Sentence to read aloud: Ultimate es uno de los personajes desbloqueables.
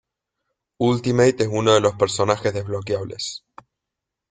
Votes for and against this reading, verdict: 2, 0, accepted